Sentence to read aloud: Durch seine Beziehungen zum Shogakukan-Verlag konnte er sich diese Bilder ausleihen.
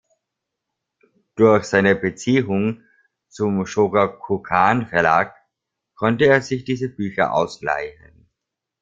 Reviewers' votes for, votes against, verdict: 2, 0, accepted